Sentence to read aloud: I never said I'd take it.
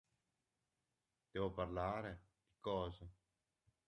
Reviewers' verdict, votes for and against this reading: rejected, 0, 2